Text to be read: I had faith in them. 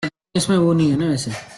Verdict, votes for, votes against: rejected, 0, 2